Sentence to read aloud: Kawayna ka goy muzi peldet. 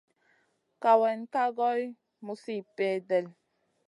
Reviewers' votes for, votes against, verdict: 2, 0, accepted